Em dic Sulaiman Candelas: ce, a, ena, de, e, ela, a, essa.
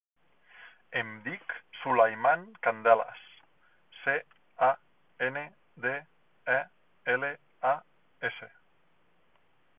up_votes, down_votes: 1, 2